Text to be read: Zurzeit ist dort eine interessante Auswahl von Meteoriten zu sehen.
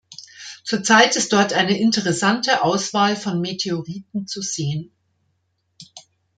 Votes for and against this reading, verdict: 2, 0, accepted